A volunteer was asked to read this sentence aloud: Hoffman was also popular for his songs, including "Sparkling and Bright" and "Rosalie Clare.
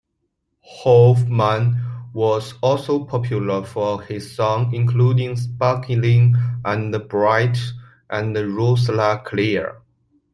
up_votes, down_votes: 2, 0